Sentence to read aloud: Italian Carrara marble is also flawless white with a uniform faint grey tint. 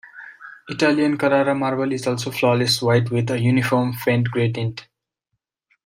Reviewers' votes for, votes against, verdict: 2, 1, accepted